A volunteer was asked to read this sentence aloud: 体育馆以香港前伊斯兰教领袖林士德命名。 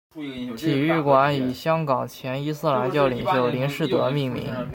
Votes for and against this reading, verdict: 1, 2, rejected